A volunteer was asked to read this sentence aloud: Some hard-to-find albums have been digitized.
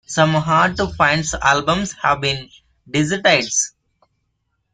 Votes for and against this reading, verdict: 1, 2, rejected